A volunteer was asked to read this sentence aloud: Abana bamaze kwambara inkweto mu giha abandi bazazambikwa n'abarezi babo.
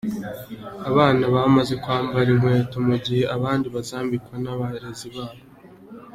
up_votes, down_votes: 2, 0